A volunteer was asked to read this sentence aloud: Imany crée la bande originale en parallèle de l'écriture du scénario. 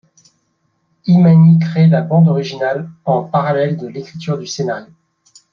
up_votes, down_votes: 2, 0